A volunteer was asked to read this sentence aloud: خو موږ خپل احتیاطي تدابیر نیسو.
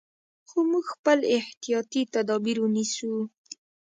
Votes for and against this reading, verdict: 0, 2, rejected